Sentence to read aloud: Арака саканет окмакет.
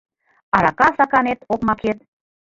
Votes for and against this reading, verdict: 1, 2, rejected